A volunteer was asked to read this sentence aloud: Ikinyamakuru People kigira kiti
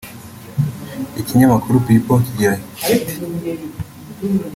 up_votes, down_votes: 2, 1